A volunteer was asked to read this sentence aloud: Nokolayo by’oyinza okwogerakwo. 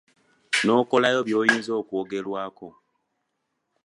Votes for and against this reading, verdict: 2, 0, accepted